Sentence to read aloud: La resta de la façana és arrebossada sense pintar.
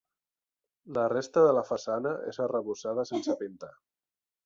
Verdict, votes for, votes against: accepted, 3, 1